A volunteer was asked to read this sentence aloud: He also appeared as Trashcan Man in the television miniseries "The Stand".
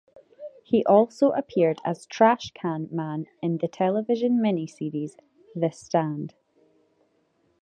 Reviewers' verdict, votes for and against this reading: accepted, 2, 0